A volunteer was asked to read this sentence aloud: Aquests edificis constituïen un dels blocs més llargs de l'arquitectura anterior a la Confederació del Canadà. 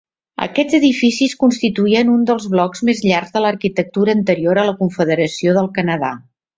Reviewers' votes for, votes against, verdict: 2, 0, accepted